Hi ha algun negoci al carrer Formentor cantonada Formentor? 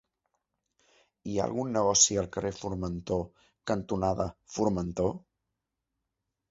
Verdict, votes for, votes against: accepted, 2, 0